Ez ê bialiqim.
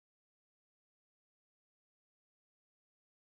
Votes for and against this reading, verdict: 1, 2, rejected